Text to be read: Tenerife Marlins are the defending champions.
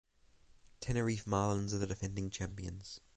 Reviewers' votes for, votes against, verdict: 6, 3, accepted